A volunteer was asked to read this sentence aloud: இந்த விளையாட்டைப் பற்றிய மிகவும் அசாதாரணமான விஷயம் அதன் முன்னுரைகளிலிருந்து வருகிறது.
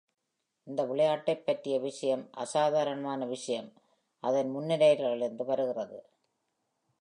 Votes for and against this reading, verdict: 1, 2, rejected